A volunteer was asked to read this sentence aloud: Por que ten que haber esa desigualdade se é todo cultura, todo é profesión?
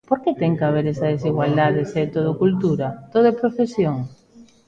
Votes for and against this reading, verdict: 1, 2, rejected